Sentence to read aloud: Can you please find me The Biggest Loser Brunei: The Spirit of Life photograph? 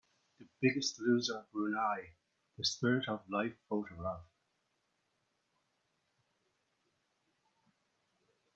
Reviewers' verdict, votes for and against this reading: rejected, 0, 4